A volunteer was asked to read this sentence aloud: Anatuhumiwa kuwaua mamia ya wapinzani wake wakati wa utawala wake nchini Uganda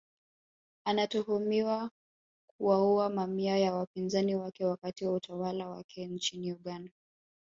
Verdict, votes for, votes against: accepted, 2, 0